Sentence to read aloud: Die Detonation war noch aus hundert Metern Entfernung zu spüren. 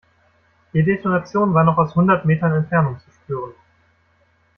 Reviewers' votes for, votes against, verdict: 2, 0, accepted